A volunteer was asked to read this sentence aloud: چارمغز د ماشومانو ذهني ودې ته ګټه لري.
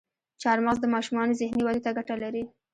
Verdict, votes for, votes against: accepted, 2, 0